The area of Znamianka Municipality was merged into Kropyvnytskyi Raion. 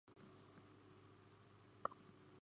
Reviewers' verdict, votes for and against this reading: rejected, 0, 2